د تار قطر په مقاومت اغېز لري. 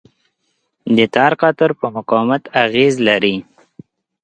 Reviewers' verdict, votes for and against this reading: accepted, 2, 0